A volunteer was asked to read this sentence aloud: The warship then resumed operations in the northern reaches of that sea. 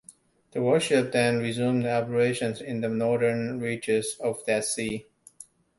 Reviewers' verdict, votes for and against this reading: accepted, 2, 0